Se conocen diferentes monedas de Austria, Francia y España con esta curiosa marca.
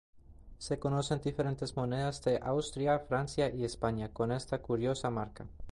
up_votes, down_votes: 2, 0